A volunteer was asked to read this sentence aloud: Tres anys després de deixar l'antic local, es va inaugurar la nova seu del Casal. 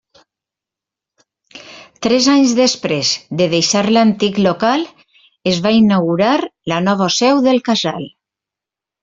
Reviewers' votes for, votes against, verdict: 3, 0, accepted